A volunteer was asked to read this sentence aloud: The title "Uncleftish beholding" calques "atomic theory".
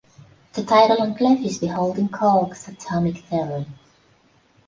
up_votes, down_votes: 1, 2